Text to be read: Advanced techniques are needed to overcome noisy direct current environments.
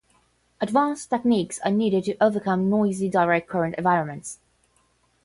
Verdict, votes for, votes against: accepted, 10, 0